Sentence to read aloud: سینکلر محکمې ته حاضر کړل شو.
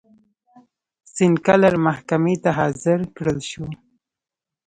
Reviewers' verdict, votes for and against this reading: accepted, 2, 0